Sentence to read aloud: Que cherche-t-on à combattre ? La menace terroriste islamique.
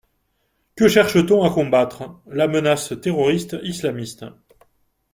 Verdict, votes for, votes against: rejected, 0, 2